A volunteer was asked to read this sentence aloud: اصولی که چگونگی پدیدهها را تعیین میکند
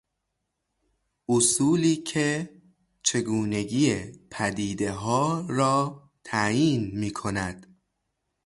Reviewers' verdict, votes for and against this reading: rejected, 0, 3